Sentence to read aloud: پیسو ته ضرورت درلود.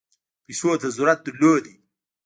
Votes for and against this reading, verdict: 2, 0, accepted